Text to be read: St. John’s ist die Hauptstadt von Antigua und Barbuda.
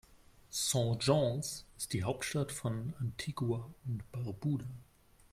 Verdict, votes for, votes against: rejected, 0, 2